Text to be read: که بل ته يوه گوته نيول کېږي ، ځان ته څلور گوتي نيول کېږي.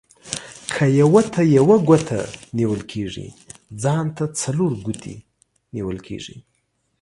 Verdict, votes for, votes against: rejected, 2, 3